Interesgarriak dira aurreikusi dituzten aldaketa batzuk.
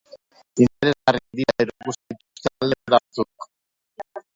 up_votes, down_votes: 0, 2